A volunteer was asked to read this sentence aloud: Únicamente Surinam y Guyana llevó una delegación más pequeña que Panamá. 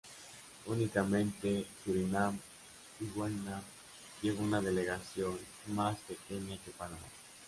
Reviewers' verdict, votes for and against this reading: rejected, 0, 2